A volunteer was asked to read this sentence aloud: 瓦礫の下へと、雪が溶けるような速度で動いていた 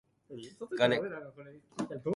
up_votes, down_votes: 0, 2